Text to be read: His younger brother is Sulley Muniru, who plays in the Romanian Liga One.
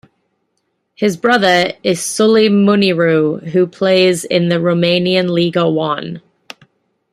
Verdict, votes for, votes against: rejected, 0, 2